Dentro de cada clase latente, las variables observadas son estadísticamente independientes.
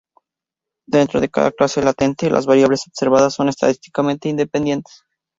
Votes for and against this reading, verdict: 2, 0, accepted